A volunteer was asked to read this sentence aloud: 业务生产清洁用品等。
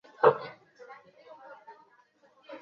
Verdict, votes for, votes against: rejected, 1, 4